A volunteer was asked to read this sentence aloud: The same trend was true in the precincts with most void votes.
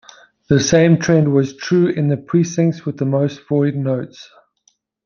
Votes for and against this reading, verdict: 0, 2, rejected